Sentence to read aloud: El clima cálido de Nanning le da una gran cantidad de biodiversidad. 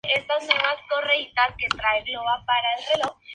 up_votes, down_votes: 0, 2